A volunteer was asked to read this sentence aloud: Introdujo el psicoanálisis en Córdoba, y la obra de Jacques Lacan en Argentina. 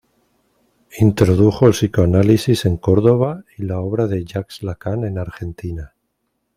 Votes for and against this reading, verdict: 2, 0, accepted